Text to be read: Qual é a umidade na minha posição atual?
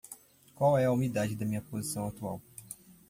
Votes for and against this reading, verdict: 1, 2, rejected